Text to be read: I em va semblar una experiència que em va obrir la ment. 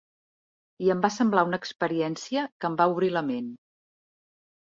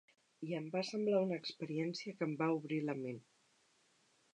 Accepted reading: first